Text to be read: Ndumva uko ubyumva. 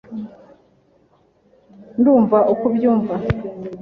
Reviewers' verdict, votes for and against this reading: accepted, 2, 0